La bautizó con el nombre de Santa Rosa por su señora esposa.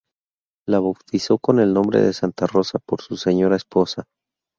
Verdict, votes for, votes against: accepted, 2, 0